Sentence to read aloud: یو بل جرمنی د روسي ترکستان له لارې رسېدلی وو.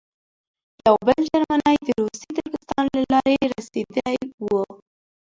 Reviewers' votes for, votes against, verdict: 1, 2, rejected